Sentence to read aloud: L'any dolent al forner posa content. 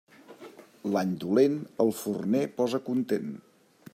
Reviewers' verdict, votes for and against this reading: accepted, 2, 0